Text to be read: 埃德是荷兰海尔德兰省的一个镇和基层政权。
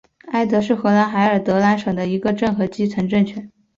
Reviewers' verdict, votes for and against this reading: accepted, 4, 0